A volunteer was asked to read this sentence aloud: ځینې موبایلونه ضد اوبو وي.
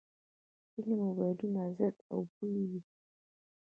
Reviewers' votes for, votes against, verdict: 0, 2, rejected